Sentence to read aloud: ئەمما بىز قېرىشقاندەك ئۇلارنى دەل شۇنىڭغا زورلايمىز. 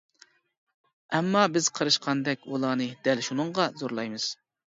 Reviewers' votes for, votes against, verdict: 2, 0, accepted